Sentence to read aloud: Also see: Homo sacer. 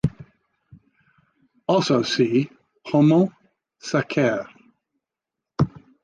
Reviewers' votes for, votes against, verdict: 1, 2, rejected